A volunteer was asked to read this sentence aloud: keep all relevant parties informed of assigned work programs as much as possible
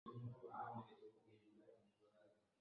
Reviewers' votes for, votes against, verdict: 0, 2, rejected